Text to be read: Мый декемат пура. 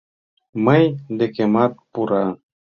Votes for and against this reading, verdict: 2, 0, accepted